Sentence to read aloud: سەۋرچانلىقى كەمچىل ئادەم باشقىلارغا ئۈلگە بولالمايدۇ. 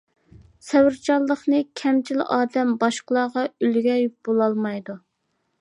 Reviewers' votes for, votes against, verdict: 0, 2, rejected